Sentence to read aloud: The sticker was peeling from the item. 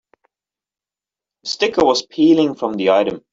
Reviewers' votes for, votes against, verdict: 1, 2, rejected